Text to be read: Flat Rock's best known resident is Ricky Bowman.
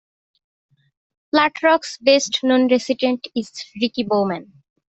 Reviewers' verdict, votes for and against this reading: accepted, 2, 0